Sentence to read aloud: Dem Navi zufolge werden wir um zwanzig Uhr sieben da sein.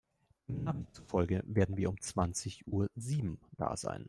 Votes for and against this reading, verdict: 0, 3, rejected